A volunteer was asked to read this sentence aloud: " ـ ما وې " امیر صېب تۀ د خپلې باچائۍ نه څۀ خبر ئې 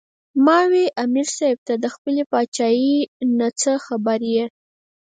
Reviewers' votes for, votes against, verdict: 4, 2, accepted